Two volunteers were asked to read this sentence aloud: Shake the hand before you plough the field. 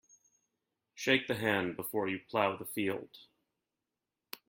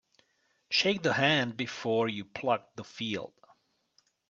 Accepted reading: first